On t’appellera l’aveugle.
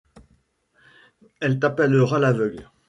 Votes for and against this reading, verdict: 0, 2, rejected